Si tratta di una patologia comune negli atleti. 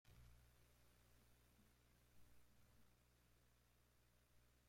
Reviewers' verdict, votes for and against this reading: rejected, 0, 2